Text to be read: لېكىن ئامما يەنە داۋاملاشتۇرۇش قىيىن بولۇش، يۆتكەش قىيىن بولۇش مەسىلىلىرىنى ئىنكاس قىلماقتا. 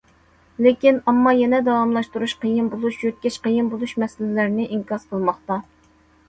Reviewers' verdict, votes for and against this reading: accepted, 2, 1